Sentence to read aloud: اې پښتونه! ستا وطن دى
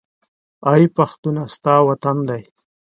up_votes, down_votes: 2, 0